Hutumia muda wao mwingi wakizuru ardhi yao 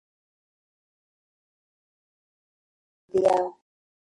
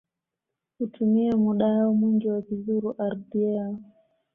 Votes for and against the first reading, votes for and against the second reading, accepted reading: 0, 3, 2, 0, second